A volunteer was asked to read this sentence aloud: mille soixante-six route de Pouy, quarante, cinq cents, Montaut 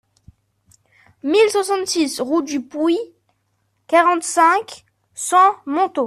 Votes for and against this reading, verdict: 0, 2, rejected